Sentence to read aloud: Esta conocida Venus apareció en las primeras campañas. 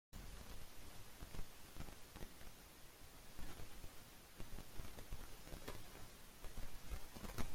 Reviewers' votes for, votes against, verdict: 0, 2, rejected